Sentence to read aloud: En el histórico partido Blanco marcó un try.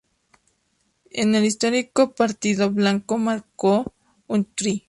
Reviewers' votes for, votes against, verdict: 4, 0, accepted